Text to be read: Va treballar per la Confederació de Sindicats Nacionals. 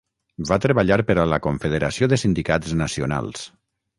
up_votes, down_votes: 0, 6